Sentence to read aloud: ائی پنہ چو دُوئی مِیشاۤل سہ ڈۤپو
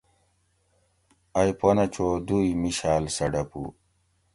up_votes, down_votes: 2, 0